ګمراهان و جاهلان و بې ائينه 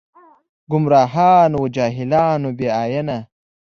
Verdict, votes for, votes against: accepted, 2, 0